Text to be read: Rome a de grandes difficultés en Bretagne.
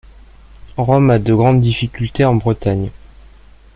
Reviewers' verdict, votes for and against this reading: accepted, 2, 0